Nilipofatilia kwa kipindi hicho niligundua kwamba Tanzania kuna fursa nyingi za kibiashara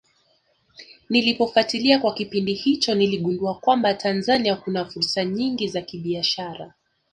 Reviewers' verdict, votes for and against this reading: accepted, 2, 0